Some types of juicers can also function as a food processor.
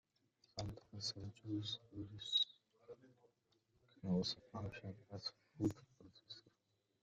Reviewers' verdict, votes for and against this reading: rejected, 0, 2